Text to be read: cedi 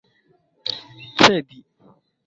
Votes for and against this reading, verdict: 1, 2, rejected